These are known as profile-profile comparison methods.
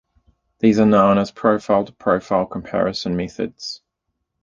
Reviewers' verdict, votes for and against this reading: accepted, 2, 0